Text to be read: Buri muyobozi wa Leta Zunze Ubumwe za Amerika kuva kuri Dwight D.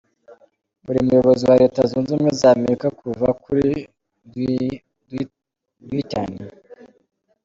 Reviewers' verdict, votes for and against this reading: rejected, 1, 2